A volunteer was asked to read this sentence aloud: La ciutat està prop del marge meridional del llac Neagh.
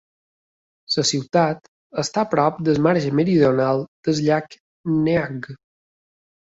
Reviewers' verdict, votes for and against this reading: accepted, 2, 1